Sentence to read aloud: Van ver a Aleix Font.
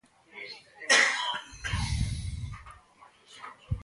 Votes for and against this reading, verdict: 0, 2, rejected